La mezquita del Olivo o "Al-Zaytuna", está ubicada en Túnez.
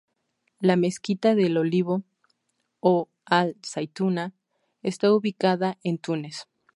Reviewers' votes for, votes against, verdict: 4, 2, accepted